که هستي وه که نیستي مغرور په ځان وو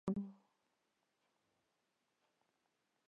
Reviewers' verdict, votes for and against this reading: rejected, 0, 2